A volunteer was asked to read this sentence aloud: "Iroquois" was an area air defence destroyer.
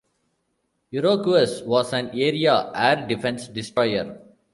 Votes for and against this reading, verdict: 0, 2, rejected